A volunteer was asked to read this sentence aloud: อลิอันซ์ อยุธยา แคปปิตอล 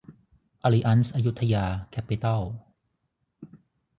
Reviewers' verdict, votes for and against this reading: rejected, 0, 3